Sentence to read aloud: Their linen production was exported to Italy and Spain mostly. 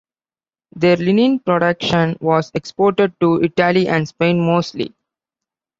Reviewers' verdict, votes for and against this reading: accepted, 2, 0